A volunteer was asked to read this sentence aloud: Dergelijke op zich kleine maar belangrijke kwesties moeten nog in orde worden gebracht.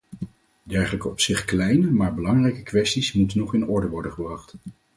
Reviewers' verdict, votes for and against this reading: accepted, 4, 0